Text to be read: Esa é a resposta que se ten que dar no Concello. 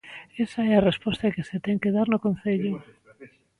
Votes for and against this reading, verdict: 2, 1, accepted